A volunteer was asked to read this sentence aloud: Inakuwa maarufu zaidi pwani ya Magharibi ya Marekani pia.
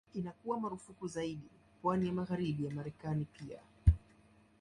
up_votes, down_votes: 0, 2